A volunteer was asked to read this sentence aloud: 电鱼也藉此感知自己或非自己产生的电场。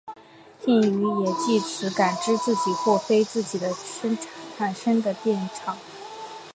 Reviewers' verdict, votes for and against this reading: rejected, 1, 3